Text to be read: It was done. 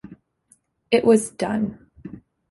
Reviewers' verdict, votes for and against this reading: accepted, 2, 0